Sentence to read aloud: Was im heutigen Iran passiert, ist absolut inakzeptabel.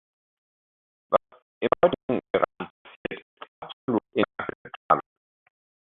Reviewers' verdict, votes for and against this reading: rejected, 0, 2